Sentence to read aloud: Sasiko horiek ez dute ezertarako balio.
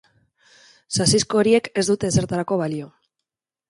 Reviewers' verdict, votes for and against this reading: rejected, 0, 2